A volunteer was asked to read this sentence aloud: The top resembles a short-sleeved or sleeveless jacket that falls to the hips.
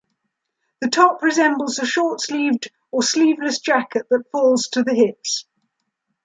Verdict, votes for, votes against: accepted, 2, 0